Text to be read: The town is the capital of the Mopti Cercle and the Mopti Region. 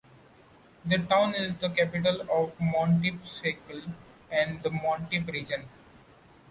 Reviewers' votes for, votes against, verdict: 1, 2, rejected